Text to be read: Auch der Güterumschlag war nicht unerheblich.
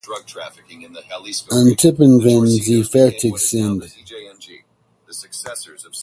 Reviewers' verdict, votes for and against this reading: rejected, 2, 4